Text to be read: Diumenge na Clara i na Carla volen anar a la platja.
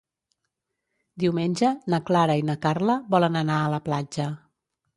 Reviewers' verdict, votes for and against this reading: accepted, 2, 0